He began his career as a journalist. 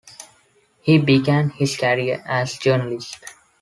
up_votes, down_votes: 0, 2